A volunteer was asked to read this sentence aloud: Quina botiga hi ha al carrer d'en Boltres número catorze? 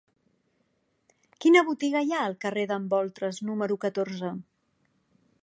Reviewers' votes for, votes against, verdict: 2, 1, accepted